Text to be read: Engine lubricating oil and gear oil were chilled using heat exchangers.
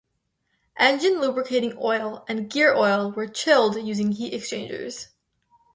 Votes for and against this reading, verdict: 2, 2, rejected